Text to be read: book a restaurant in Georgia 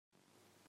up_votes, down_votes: 0, 2